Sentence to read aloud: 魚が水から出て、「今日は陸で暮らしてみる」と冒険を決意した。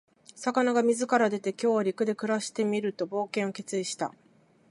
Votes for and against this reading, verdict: 2, 2, rejected